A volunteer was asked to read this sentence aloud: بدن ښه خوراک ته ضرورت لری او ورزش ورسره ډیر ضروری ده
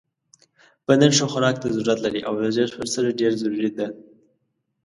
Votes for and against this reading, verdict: 2, 0, accepted